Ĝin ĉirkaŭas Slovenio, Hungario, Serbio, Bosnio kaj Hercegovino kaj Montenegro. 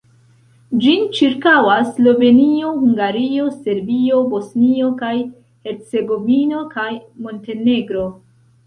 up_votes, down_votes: 2, 0